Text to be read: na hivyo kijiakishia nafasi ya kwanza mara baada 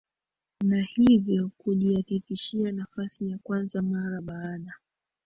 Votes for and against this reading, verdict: 0, 2, rejected